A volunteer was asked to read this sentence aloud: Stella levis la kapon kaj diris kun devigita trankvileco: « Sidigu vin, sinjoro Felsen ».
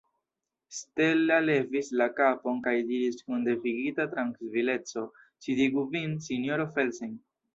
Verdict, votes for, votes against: rejected, 1, 2